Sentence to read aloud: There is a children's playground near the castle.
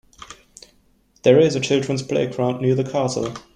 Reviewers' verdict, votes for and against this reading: accepted, 2, 0